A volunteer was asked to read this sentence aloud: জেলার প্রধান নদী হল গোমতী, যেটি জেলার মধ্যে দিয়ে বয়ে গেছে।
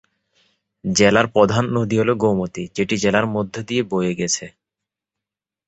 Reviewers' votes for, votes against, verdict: 2, 2, rejected